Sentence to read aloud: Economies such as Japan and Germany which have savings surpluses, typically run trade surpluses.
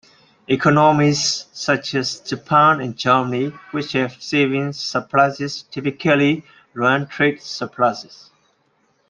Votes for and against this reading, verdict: 2, 0, accepted